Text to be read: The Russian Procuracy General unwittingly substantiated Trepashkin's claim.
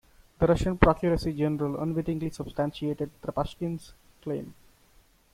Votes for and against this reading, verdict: 0, 2, rejected